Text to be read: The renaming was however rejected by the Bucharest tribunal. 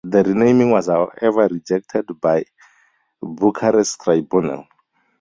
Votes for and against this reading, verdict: 0, 2, rejected